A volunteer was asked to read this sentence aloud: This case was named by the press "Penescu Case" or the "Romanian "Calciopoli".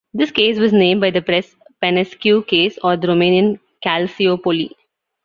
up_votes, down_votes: 2, 0